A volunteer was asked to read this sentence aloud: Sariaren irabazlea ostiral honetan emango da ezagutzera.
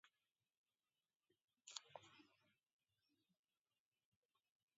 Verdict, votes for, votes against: rejected, 1, 2